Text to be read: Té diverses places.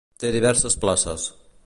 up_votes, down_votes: 2, 0